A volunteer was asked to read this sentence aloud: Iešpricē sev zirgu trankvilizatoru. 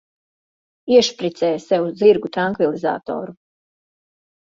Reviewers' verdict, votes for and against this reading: accepted, 2, 0